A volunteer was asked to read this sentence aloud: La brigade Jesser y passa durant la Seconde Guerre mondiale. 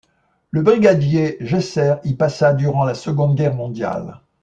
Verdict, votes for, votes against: rejected, 0, 2